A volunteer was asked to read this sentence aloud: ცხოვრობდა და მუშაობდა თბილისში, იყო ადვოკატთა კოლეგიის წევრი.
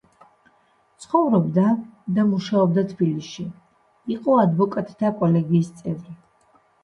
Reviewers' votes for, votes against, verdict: 2, 1, accepted